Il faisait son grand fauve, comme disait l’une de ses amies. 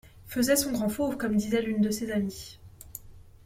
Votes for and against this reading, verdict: 1, 2, rejected